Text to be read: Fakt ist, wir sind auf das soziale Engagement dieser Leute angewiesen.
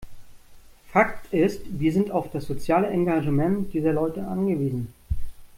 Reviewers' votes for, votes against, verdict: 0, 2, rejected